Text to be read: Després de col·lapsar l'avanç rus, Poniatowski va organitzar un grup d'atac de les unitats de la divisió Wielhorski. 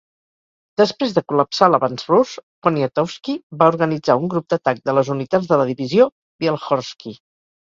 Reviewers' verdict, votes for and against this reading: accepted, 4, 0